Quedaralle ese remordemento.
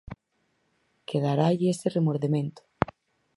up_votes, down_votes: 4, 0